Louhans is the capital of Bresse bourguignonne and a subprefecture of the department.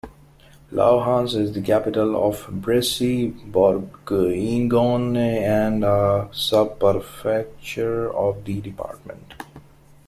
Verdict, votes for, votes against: rejected, 1, 2